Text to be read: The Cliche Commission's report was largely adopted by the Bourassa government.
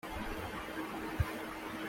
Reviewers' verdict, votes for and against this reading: rejected, 0, 2